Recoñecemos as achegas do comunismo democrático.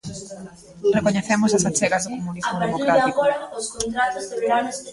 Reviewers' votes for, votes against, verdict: 0, 2, rejected